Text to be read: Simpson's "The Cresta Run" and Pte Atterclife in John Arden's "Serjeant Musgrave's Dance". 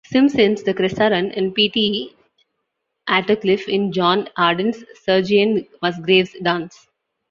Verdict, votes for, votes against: rejected, 0, 2